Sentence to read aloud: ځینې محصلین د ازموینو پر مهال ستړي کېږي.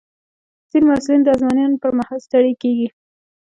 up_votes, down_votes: 3, 0